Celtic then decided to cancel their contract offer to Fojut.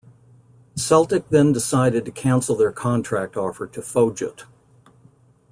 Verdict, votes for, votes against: accepted, 2, 0